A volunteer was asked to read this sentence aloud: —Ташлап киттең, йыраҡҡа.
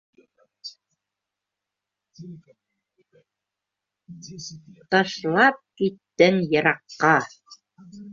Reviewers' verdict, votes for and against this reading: rejected, 1, 2